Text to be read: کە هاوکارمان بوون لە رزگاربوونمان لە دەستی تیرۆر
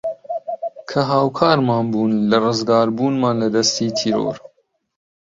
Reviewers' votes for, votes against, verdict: 1, 2, rejected